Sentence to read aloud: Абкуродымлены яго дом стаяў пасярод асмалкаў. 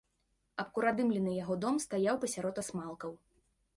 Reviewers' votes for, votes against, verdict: 2, 0, accepted